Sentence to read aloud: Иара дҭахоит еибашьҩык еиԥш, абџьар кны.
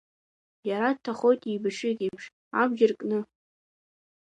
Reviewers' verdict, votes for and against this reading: accepted, 2, 1